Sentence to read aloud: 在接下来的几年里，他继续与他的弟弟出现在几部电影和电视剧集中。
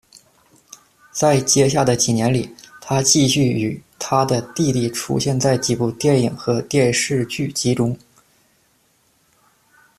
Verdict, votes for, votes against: accepted, 2, 0